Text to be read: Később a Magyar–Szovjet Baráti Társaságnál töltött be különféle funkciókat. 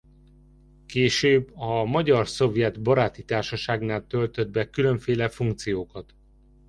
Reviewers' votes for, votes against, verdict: 3, 0, accepted